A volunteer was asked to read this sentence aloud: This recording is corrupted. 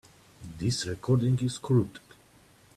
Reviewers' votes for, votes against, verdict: 1, 2, rejected